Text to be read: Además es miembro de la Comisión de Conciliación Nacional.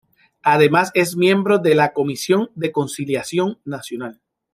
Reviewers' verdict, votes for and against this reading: accepted, 3, 1